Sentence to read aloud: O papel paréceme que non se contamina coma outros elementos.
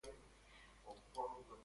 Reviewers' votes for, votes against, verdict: 0, 2, rejected